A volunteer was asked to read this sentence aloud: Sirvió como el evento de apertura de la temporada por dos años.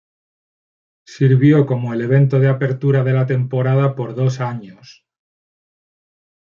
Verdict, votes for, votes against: accepted, 2, 1